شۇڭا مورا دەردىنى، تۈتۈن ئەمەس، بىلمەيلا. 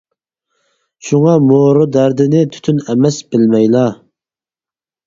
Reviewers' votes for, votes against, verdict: 4, 0, accepted